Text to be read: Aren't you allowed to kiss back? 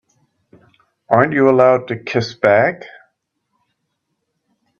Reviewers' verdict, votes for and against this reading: accepted, 2, 0